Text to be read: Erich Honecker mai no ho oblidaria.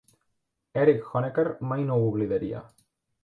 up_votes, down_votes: 2, 0